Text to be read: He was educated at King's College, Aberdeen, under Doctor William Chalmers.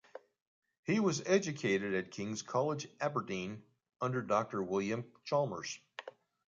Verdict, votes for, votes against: accepted, 2, 0